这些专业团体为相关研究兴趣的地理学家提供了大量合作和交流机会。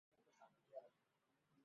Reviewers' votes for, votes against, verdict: 0, 6, rejected